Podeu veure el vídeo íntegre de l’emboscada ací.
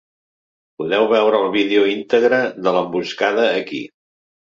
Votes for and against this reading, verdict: 1, 2, rejected